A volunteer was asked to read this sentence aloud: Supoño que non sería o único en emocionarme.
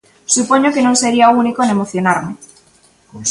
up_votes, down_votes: 1, 2